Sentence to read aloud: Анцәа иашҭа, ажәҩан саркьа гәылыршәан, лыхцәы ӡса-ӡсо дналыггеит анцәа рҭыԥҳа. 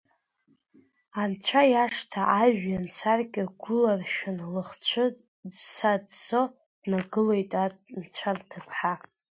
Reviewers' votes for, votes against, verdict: 1, 2, rejected